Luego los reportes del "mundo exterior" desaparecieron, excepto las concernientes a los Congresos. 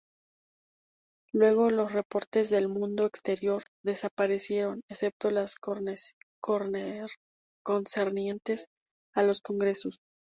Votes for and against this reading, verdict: 0, 2, rejected